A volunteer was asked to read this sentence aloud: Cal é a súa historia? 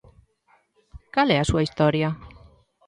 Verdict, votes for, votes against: accepted, 2, 0